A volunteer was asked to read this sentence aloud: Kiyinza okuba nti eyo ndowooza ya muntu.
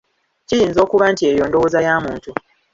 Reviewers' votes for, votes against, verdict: 0, 2, rejected